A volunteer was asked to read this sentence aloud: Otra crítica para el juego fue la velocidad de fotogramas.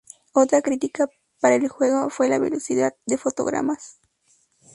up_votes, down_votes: 2, 0